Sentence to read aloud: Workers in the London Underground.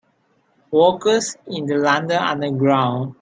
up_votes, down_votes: 2, 0